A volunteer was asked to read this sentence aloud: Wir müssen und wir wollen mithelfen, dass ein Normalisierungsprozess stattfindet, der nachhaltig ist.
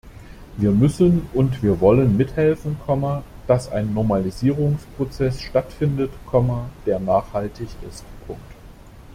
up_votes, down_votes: 0, 2